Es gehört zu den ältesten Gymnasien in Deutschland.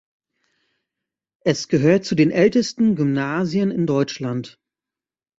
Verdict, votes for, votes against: accepted, 2, 0